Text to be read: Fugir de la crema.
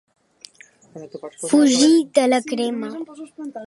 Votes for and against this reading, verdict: 2, 1, accepted